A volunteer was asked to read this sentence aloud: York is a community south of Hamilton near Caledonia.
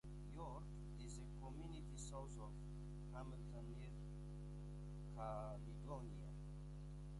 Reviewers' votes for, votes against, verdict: 2, 1, accepted